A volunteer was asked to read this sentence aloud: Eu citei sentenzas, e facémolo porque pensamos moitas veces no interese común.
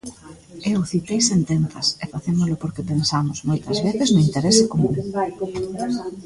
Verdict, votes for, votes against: rejected, 1, 2